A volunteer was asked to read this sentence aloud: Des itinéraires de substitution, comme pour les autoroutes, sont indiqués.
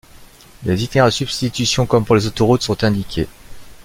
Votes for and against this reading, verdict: 0, 2, rejected